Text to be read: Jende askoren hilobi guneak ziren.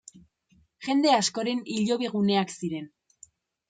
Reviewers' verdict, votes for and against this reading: accepted, 2, 0